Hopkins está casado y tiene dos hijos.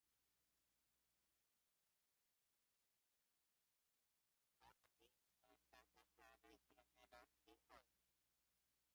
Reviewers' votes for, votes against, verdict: 0, 2, rejected